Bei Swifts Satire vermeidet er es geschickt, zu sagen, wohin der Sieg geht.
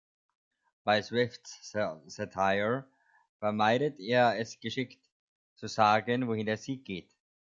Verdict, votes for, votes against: rejected, 0, 2